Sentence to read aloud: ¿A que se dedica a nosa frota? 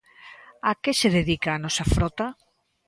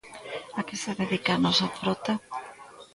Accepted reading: first